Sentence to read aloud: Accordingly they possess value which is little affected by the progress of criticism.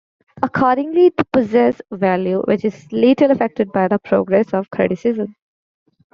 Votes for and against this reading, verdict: 0, 2, rejected